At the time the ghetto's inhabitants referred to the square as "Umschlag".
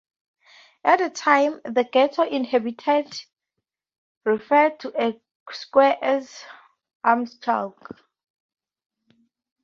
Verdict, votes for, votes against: rejected, 2, 2